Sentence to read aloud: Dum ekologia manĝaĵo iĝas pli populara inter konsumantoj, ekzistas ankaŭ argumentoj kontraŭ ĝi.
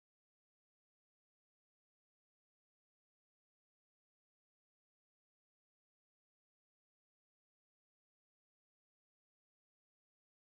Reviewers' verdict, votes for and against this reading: rejected, 0, 2